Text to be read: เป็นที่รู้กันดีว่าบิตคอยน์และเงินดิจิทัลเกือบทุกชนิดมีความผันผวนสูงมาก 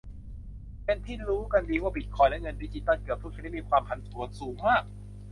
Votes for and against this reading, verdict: 2, 0, accepted